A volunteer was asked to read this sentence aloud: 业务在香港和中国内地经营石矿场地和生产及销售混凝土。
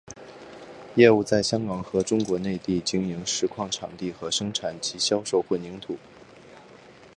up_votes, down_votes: 4, 0